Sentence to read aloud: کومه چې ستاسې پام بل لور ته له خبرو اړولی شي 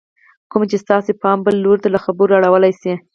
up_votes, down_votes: 2, 4